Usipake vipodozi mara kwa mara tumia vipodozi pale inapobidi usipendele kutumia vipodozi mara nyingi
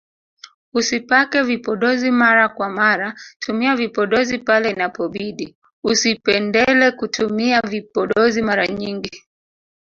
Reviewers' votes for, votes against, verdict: 1, 2, rejected